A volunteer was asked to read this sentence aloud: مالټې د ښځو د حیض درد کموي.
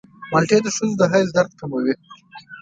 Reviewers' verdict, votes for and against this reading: accepted, 2, 1